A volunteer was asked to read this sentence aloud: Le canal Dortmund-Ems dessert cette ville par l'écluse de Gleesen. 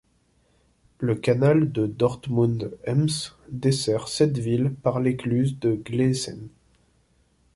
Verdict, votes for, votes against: rejected, 0, 2